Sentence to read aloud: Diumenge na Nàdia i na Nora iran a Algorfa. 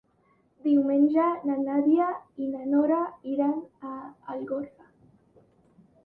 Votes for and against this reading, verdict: 3, 0, accepted